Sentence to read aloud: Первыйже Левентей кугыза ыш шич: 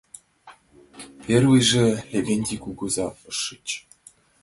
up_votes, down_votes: 3, 2